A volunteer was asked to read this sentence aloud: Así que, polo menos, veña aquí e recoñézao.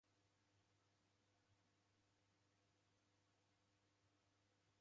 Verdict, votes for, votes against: rejected, 0, 2